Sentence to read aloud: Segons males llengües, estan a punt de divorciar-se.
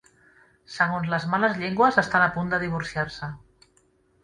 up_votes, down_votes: 1, 2